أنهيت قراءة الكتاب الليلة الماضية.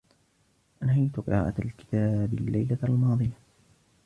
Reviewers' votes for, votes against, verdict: 2, 0, accepted